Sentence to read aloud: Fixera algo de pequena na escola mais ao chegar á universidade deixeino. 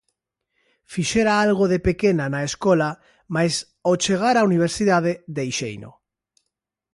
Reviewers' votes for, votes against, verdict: 2, 0, accepted